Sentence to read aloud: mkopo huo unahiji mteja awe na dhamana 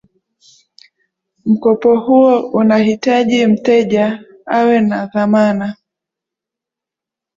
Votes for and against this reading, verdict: 2, 0, accepted